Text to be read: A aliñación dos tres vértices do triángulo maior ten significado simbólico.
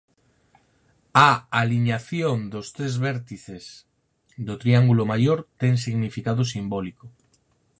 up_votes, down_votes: 4, 2